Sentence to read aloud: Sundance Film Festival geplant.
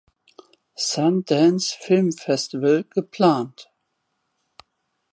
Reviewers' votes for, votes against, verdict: 2, 0, accepted